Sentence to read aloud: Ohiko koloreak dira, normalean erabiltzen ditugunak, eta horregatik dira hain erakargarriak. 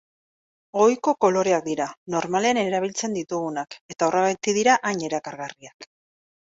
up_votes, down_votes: 2, 0